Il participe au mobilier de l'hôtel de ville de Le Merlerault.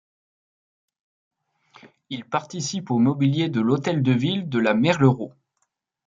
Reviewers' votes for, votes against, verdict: 0, 2, rejected